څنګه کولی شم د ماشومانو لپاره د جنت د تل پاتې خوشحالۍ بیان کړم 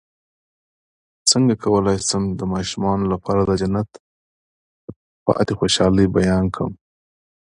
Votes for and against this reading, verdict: 1, 2, rejected